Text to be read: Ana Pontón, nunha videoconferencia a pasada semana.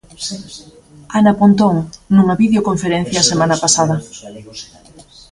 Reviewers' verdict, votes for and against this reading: rejected, 0, 2